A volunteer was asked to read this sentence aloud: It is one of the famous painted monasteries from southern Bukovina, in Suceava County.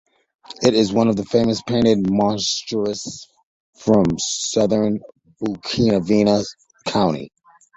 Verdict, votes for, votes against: rejected, 1, 2